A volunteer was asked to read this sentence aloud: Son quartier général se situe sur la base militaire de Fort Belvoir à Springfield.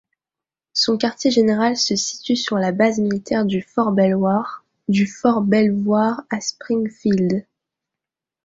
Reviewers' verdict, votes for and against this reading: rejected, 0, 2